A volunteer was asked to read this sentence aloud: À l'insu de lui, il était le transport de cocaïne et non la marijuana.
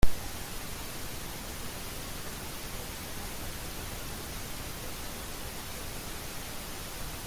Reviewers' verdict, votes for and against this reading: rejected, 0, 2